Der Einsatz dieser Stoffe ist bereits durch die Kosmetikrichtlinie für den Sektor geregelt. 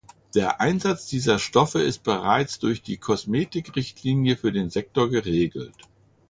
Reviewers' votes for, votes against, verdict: 2, 0, accepted